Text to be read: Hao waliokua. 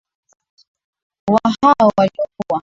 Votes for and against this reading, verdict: 2, 0, accepted